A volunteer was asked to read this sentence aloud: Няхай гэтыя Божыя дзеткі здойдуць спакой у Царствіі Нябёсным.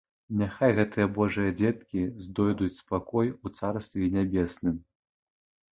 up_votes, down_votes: 1, 2